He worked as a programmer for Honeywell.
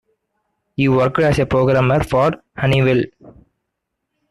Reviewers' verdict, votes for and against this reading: accepted, 2, 1